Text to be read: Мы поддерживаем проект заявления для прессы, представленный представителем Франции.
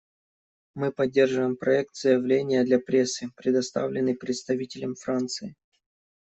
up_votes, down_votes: 0, 2